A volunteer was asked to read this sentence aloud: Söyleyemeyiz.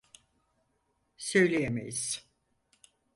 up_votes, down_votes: 4, 0